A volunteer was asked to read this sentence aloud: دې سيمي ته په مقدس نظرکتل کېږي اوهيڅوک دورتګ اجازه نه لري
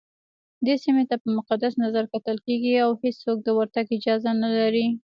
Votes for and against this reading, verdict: 1, 2, rejected